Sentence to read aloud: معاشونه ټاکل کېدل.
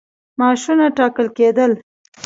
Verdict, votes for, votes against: accepted, 2, 0